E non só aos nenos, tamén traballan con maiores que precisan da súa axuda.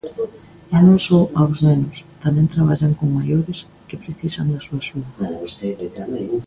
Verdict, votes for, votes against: rejected, 1, 2